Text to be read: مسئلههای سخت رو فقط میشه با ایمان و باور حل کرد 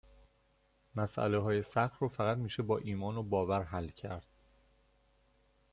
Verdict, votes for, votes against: accepted, 2, 0